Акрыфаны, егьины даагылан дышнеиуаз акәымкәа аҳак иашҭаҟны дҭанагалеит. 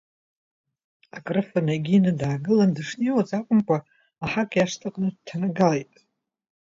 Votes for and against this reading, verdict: 1, 2, rejected